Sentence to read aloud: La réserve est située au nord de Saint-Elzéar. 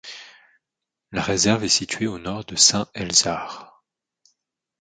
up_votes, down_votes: 1, 2